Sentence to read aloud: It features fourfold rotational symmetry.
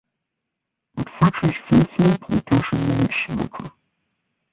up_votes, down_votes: 0, 2